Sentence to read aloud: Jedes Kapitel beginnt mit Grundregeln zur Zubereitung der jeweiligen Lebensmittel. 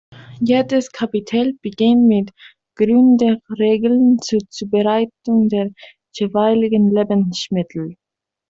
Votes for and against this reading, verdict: 0, 2, rejected